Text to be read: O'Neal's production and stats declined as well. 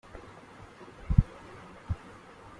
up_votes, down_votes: 0, 2